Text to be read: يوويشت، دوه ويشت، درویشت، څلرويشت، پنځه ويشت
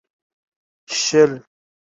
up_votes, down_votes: 0, 2